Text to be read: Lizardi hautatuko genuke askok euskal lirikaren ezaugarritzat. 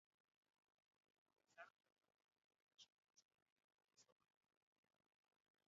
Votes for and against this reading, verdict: 0, 2, rejected